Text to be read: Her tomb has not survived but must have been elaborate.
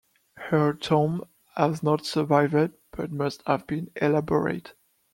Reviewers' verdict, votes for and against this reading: accepted, 2, 1